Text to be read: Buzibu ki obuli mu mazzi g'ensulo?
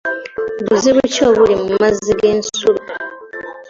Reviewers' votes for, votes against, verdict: 2, 0, accepted